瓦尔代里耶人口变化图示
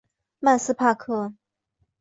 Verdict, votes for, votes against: rejected, 0, 5